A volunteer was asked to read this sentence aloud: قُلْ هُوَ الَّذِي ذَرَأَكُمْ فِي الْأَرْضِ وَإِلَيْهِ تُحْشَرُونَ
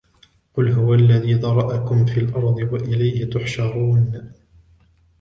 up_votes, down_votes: 1, 2